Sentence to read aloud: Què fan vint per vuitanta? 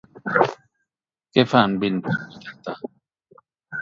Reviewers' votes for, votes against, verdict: 2, 2, rejected